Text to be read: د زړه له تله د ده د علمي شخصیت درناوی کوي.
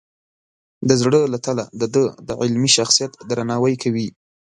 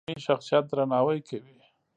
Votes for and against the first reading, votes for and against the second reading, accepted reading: 2, 0, 0, 2, first